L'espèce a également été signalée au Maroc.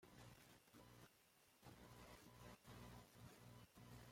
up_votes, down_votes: 0, 2